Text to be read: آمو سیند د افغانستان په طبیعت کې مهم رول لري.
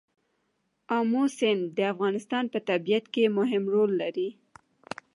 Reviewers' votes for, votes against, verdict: 0, 2, rejected